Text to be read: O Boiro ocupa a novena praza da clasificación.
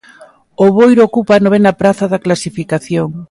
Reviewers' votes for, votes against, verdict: 2, 0, accepted